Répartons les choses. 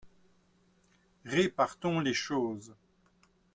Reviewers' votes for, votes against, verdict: 2, 0, accepted